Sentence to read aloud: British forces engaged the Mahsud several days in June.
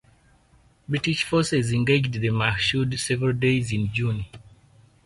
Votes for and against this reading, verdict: 0, 4, rejected